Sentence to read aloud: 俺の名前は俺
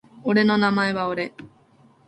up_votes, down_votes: 0, 2